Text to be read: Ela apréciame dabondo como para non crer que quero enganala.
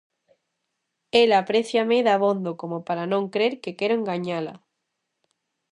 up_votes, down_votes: 0, 2